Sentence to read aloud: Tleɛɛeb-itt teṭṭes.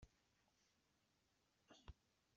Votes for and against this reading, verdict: 1, 2, rejected